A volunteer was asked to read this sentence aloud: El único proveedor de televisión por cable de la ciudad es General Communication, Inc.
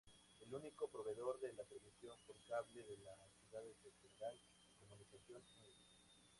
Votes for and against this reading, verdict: 2, 8, rejected